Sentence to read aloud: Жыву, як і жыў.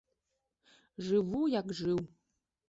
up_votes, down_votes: 0, 2